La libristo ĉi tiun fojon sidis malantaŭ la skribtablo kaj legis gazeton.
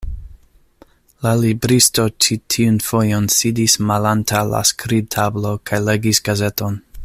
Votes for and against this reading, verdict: 2, 0, accepted